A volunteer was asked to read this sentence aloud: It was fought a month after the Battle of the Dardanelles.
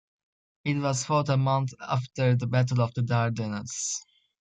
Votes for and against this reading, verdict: 2, 0, accepted